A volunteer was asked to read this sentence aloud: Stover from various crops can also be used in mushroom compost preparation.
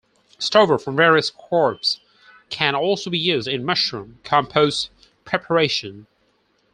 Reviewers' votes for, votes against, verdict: 4, 2, accepted